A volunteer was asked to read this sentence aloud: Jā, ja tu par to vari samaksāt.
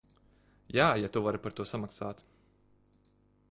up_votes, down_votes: 0, 2